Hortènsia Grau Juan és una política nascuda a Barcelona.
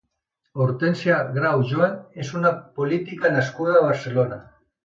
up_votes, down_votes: 2, 0